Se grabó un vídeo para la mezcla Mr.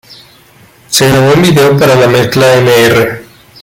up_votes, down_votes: 0, 2